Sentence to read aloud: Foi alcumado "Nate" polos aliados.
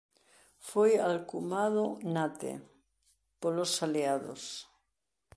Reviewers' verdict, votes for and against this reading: rejected, 0, 2